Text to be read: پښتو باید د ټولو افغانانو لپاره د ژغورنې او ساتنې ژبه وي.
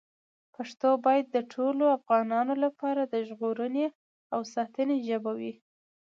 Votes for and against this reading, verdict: 2, 0, accepted